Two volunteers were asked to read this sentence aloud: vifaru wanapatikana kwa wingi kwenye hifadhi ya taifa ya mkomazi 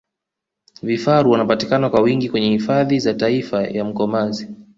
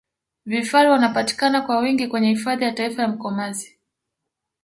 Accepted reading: second